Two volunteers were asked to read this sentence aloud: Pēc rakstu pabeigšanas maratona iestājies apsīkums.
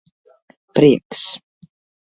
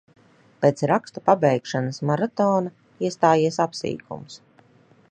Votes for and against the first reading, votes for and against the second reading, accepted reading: 0, 2, 2, 0, second